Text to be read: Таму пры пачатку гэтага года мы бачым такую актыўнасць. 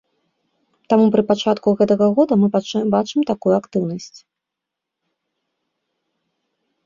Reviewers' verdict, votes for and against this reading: rejected, 1, 2